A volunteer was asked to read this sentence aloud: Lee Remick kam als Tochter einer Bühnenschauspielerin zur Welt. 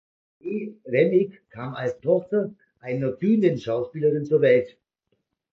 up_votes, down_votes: 2, 0